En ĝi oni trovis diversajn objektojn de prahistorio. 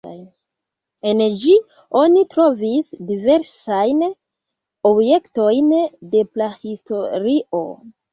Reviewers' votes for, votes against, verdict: 0, 2, rejected